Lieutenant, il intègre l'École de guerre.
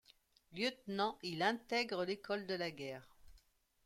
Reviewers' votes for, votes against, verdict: 1, 2, rejected